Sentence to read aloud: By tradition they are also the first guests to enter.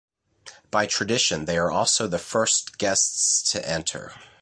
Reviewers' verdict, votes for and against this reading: accepted, 2, 0